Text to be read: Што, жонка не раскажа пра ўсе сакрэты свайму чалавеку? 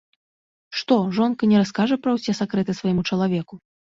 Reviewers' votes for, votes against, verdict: 2, 0, accepted